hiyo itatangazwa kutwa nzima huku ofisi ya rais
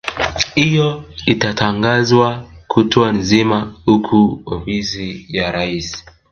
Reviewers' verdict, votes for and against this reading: rejected, 1, 2